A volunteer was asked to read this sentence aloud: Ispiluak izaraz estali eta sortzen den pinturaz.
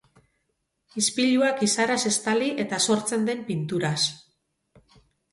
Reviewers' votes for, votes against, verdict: 2, 0, accepted